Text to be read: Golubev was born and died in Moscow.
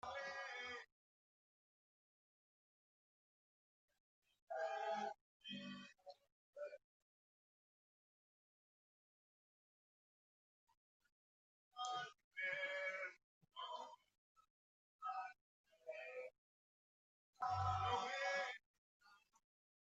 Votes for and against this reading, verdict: 0, 2, rejected